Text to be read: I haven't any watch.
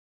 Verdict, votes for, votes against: rejected, 0, 2